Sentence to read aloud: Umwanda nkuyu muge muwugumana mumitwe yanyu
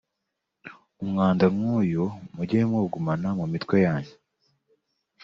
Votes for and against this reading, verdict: 2, 0, accepted